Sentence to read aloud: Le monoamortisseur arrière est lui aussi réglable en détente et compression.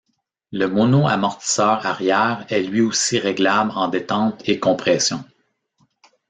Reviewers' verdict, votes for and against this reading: accepted, 2, 0